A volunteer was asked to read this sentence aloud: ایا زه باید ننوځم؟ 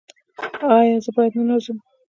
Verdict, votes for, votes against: accepted, 2, 1